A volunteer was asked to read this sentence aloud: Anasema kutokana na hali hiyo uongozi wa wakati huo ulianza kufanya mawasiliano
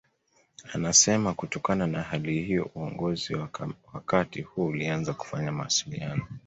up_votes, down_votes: 0, 2